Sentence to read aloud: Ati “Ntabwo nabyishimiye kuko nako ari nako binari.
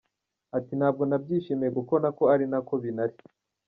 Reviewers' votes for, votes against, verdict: 2, 0, accepted